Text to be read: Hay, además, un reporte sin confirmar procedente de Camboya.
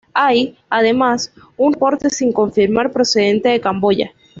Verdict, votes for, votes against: rejected, 1, 2